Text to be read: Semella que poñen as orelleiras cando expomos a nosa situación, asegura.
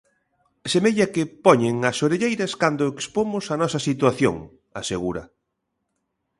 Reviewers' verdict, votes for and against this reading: accepted, 3, 0